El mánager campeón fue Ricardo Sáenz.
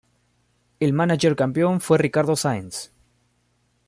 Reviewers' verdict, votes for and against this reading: accepted, 2, 0